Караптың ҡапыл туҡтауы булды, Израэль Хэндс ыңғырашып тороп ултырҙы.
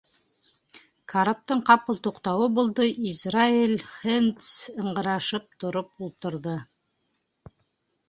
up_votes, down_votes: 0, 2